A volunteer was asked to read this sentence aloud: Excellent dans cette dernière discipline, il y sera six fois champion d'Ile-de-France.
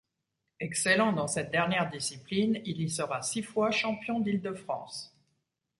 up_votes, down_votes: 2, 0